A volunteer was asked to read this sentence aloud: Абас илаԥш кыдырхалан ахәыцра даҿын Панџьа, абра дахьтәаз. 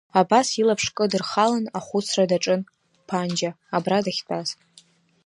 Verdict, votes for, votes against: rejected, 0, 2